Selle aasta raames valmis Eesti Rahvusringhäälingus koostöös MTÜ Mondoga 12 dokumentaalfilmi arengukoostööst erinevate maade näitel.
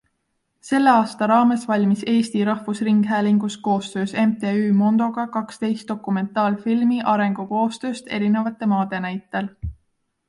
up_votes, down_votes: 0, 2